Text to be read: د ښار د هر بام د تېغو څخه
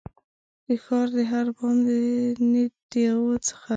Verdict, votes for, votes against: rejected, 0, 2